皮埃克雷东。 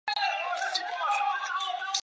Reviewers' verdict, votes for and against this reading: rejected, 0, 2